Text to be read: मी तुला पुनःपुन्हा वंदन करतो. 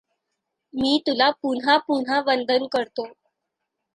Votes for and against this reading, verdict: 2, 1, accepted